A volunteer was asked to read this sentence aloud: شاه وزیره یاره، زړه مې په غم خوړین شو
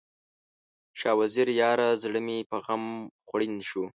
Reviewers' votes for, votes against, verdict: 2, 0, accepted